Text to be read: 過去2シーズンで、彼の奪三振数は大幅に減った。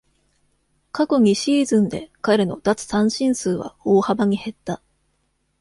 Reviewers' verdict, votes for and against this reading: rejected, 0, 2